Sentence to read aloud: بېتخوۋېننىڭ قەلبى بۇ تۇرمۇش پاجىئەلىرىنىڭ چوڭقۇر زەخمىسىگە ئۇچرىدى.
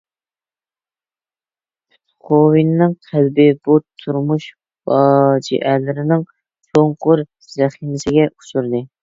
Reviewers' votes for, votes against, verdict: 1, 2, rejected